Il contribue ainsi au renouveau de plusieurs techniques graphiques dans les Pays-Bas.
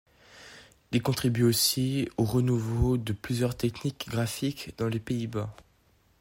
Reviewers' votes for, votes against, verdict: 0, 2, rejected